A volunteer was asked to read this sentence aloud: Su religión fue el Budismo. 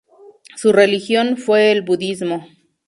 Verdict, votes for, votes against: accepted, 2, 0